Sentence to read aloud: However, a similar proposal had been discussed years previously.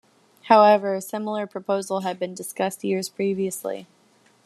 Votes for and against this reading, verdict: 1, 2, rejected